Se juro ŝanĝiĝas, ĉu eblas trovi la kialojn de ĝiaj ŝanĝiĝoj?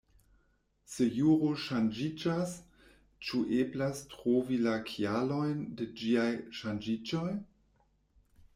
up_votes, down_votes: 2, 0